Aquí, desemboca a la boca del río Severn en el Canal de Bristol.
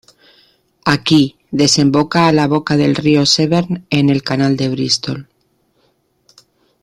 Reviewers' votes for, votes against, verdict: 2, 0, accepted